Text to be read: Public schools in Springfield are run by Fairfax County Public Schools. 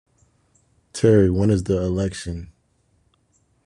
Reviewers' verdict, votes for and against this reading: rejected, 0, 2